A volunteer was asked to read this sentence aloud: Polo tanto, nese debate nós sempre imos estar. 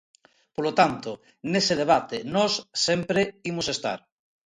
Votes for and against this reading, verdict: 2, 0, accepted